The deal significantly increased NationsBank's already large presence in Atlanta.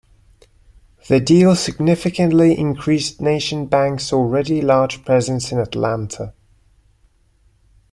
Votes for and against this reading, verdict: 1, 2, rejected